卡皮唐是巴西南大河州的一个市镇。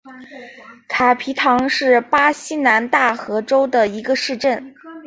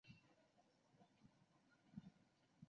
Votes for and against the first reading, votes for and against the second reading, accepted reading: 4, 0, 1, 2, first